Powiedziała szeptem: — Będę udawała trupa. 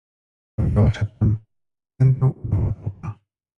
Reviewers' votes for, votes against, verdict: 0, 2, rejected